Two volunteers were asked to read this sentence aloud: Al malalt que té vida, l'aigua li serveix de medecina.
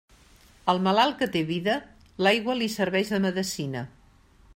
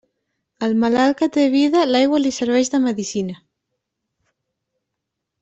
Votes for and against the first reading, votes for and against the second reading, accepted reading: 2, 0, 1, 2, first